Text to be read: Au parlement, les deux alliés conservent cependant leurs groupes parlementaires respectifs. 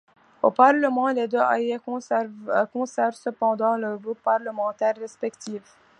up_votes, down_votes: 2, 0